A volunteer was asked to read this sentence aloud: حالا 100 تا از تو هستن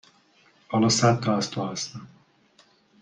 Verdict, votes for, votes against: rejected, 0, 2